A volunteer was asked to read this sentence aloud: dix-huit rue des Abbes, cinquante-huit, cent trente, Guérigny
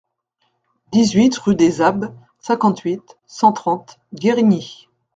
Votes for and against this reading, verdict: 2, 0, accepted